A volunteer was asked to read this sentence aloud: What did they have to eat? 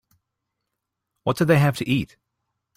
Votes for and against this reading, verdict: 2, 0, accepted